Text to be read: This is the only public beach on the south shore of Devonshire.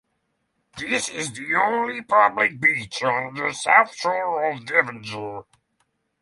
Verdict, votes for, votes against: rejected, 0, 3